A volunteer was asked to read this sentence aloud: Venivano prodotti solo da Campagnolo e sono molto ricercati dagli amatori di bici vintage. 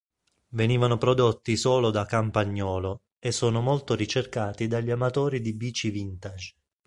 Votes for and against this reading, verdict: 2, 0, accepted